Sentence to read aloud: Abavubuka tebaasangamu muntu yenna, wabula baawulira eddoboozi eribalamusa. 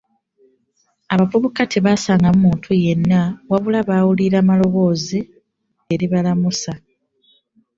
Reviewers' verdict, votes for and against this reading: rejected, 0, 2